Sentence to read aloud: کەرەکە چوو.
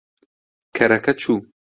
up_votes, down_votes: 2, 0